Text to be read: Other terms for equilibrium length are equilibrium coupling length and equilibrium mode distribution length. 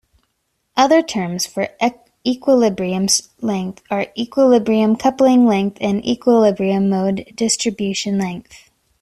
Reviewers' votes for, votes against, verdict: 1, 2, rejected